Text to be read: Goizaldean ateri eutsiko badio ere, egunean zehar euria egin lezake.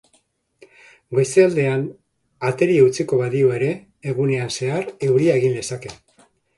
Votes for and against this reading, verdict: 2, 0, accepted